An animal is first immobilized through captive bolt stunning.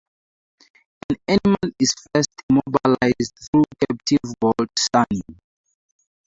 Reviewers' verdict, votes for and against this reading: rejected, 0, 2